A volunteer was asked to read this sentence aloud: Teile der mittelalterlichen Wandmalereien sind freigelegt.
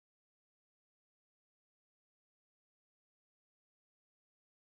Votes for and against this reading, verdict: 0, 2, rejected